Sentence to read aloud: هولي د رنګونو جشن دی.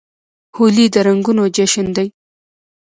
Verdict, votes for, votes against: rejected, 0, 2